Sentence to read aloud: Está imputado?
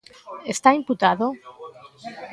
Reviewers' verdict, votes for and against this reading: accepted, 2, 0